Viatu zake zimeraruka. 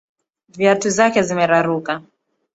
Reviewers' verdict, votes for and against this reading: accepted, 2, 0